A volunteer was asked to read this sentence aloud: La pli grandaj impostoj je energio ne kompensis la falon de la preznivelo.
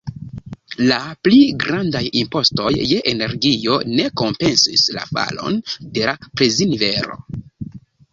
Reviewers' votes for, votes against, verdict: 4, 2, accepted